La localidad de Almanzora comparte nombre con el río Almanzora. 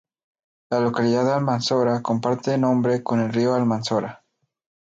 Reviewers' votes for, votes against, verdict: 0, 2, rejected